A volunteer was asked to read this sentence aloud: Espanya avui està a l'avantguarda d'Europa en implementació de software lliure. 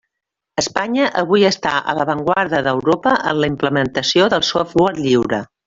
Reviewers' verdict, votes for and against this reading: rejected, 0, 2